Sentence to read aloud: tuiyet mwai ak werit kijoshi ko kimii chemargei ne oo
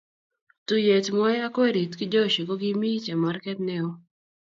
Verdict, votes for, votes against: accepted, 2, 0